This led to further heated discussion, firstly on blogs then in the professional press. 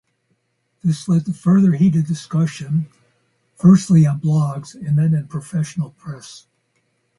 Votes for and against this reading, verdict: 0, 2, rejected